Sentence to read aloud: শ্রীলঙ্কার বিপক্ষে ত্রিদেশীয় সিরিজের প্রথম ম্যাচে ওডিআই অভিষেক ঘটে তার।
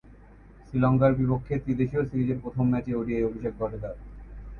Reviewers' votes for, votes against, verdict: 1, 3, rejected